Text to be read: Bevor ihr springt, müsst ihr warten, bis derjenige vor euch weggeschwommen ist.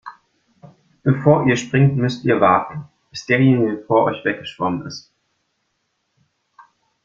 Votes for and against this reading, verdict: 2, 0, accepted